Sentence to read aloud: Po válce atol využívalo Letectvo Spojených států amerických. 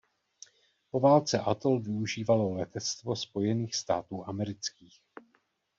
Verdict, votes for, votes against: accepted, 2, 0